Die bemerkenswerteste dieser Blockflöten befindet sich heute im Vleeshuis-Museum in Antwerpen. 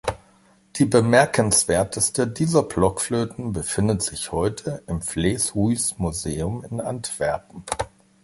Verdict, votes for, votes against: accepted, 2, 1